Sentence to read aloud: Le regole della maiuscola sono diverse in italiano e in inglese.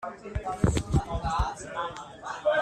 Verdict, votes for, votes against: rejected, 0, 2